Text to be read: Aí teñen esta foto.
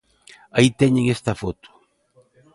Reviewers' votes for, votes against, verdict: 2, 1, accepted